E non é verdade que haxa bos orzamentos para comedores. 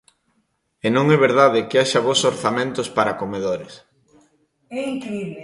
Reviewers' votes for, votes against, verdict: 0, 2, rejected